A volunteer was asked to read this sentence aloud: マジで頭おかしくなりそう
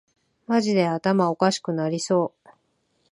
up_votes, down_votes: 2, 0